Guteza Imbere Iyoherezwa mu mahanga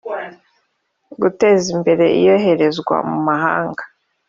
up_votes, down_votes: 3, 0